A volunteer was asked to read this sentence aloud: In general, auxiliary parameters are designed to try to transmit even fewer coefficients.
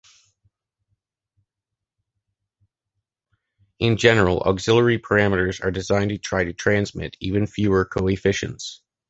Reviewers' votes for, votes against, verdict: 2, 1, accepted